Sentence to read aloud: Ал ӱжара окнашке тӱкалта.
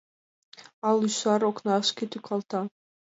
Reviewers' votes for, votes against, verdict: 1, 7, rejected